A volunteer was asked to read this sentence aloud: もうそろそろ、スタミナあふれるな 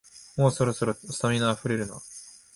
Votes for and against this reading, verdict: 2, 0, accepted